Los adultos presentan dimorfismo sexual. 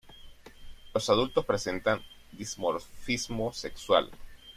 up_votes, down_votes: 0, 2